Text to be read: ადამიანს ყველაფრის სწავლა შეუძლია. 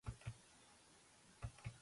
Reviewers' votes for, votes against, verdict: 0, 2, rejected